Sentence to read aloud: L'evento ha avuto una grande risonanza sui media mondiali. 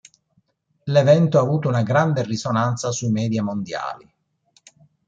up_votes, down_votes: 2, 0